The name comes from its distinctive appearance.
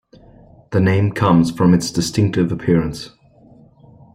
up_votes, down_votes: 1, 2